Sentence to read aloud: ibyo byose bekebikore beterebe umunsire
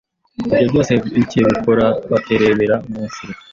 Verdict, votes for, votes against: rejected, 0, 2